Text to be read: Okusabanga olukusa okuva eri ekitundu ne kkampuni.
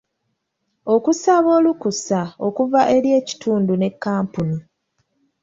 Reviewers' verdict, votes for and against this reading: accepted, 2, 1